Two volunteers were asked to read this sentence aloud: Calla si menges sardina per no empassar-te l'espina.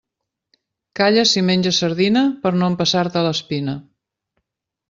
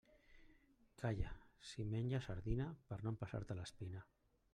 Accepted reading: first